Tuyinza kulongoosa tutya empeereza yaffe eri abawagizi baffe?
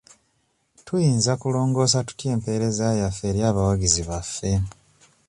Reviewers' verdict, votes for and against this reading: accepted, 2, 0